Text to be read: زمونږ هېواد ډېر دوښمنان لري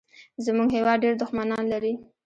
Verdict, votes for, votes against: rejected, 0, 2